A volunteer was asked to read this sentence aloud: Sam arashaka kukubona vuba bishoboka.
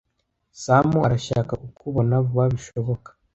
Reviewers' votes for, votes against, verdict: 2, 0, accepted